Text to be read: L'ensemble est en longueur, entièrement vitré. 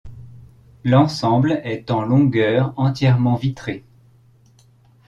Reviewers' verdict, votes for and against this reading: accepted, 2, 0